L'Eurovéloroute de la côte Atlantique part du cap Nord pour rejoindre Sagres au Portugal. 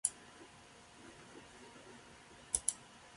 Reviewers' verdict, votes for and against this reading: rejected, 0, 2